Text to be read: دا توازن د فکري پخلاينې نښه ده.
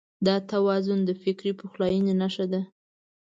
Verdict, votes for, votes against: accepted, 2, 0